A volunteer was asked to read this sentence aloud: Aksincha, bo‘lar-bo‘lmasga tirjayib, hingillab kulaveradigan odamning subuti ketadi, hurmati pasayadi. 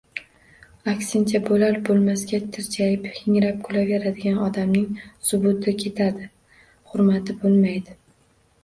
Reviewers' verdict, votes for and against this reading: rejected, 1, 2